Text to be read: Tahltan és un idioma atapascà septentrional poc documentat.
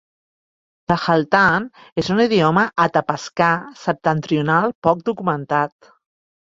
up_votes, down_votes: 2, 0